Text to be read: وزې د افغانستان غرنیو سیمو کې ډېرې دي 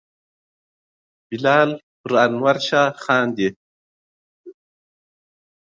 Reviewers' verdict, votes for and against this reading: rejected, 0, 2